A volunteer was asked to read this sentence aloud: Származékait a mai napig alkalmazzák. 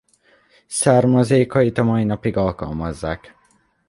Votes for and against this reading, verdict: 2, 0, accepted